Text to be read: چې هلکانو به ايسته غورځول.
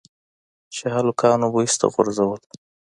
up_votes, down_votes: 2, 0